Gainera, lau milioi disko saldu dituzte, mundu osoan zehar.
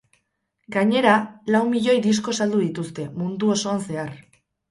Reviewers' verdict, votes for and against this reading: rejected, 0, 2